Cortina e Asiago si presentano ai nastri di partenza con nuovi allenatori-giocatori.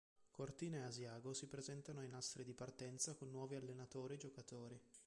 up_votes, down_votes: 0, 3